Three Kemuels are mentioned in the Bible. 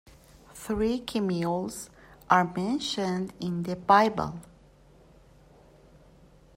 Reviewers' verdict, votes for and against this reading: accepted, 2, 0